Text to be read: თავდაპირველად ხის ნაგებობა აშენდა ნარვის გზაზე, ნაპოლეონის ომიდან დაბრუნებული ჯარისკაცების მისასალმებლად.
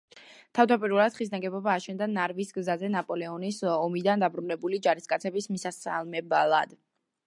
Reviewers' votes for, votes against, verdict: 1, 2, rejected